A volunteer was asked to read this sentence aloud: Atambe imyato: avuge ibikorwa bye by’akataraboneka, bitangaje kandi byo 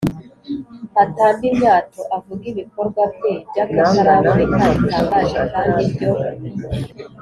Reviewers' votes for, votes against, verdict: 4, 0, accepted